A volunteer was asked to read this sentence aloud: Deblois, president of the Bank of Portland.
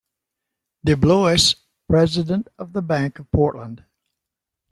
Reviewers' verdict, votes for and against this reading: rejected, 0, 2